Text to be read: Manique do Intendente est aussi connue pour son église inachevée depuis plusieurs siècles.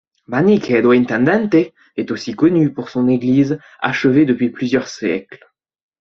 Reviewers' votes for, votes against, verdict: 1, 2, rejected